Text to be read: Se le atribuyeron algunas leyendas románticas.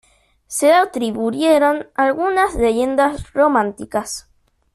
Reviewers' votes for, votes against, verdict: 2, 0, accepted